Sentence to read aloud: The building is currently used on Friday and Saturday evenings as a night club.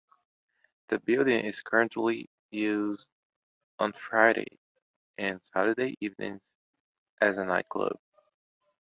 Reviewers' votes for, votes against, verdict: 2, 0, accepted